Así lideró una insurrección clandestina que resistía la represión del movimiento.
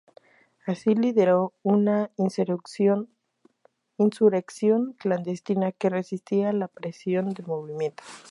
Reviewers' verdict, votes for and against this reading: rejected, 0, 2